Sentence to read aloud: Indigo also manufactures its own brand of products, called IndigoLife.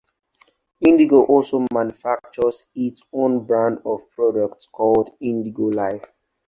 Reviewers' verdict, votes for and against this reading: accepted, 4, 0